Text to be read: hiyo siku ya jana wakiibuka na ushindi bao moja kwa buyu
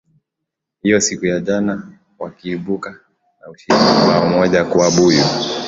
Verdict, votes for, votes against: accepted, 7, 3